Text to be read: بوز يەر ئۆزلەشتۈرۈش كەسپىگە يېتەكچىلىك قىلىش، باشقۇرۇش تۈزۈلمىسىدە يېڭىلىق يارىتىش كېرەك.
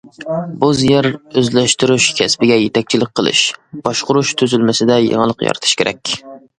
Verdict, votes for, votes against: accepted, 2, 0